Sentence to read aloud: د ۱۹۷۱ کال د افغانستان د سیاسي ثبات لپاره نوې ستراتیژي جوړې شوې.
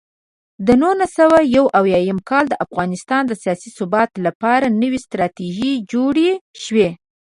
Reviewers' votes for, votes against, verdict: 0, 2, rejected